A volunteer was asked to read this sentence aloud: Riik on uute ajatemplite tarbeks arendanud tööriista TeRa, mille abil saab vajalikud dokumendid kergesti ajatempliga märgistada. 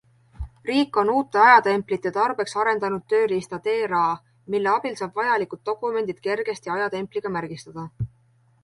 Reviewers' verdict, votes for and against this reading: accepted, 2, 0